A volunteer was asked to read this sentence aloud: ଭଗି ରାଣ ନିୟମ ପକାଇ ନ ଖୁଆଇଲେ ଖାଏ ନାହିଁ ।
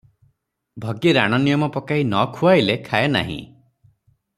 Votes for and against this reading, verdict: 3, 0, accepted